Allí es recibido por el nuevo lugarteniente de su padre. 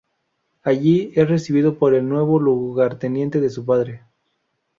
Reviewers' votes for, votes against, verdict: 2, 2, rejected